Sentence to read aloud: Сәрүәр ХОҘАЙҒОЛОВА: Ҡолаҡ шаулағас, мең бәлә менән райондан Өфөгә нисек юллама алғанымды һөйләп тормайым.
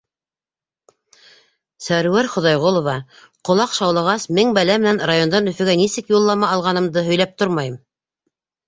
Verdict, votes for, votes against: accepted, 2, 0